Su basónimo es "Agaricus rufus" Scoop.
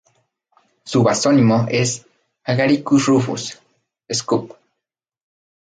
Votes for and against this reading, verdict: 4, 0, accepted